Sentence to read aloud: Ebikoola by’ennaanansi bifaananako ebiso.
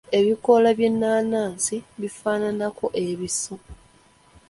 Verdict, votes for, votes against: accepted, 2, 0